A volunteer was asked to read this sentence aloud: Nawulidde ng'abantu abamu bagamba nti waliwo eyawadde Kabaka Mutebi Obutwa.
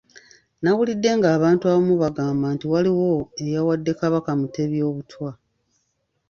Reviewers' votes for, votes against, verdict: 2, 1, accepted